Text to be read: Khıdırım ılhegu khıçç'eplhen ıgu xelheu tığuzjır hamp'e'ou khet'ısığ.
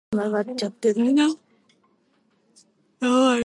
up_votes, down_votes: 0, 2